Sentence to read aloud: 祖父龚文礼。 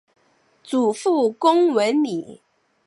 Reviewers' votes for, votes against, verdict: 7, 1, accepted